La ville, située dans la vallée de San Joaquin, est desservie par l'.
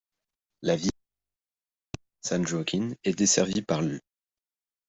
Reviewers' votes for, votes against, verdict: 0, 2, rejected